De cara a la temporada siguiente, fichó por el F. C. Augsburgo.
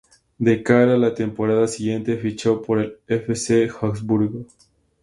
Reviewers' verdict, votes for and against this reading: rejected, 0, 2